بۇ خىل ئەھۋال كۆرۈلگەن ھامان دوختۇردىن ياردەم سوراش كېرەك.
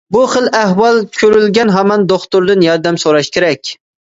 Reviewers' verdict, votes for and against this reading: accepted, 2, 0